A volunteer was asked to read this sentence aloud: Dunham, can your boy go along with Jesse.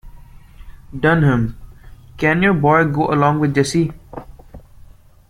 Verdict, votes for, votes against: accepted, 2, 0